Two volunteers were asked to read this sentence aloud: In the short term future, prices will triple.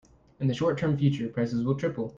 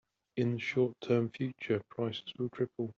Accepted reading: first